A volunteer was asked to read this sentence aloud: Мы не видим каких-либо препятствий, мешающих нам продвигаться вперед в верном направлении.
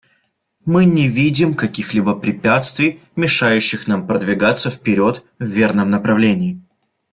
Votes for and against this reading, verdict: 2, 0, accepted